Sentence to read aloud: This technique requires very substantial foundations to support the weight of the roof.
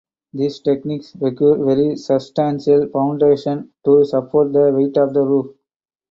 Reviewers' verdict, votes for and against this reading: accepted, 4, 0